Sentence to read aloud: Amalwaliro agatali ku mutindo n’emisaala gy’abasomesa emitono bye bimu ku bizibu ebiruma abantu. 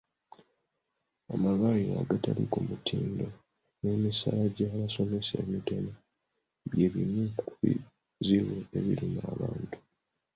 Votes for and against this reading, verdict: 0, 2, rejected